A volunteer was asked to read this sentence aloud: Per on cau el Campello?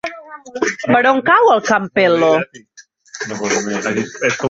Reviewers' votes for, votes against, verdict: 1, 2, rejected